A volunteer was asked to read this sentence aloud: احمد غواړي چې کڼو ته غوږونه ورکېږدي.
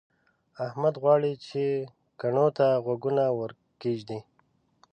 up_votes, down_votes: 2, 0